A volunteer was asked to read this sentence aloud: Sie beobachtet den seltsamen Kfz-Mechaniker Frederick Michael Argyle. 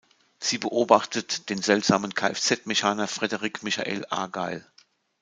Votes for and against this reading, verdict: 0, 2, rejected